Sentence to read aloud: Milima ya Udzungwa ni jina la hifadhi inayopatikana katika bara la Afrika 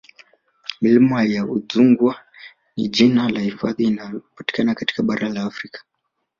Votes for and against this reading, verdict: 3, 2, accepted